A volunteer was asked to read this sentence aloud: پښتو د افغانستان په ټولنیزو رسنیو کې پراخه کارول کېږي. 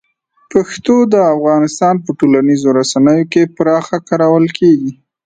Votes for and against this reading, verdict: 2, 0, accepted